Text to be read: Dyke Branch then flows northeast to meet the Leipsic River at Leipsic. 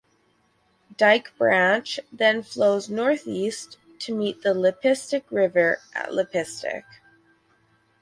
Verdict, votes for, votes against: accepted, 6, 4